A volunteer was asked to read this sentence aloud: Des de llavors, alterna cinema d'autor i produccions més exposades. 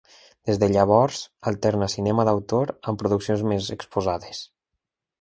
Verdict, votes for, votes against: rejected, 1, 2